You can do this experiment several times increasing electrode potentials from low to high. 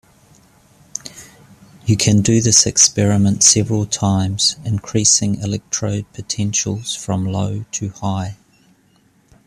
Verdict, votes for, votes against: accepted, 2, 0